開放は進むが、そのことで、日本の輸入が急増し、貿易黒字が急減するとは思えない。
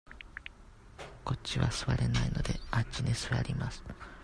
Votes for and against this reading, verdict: 0, 2, rejected